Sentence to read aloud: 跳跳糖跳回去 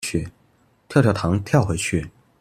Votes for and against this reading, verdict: 0, 2, rejected